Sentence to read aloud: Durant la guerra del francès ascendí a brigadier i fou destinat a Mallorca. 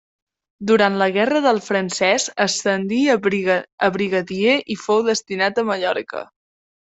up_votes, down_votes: 0, 2